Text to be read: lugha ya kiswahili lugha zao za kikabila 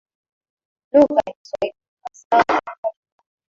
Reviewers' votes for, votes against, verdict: 2, 3, rejected